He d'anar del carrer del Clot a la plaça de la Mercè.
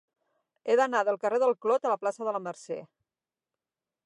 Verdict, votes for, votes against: accepted, 9, 0